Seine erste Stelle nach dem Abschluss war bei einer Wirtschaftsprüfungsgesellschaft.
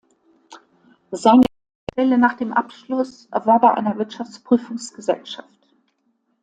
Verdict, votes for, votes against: rejected, 0, 2